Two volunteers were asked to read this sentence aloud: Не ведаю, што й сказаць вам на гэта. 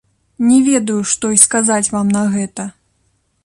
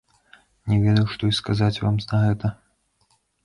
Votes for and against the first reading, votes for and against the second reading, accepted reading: 2, 0, 1, 2, first